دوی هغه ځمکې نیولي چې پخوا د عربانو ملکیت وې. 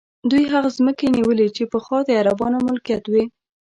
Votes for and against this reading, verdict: 0, 2, rejected